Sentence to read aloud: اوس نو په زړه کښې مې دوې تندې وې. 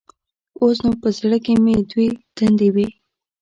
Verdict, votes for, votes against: rejected, 0, 2